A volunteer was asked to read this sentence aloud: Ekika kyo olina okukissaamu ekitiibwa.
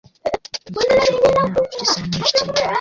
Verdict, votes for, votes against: rejected, 0, 2